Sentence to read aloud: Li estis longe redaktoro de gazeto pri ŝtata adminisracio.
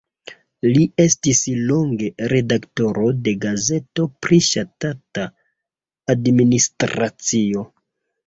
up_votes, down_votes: 1, 2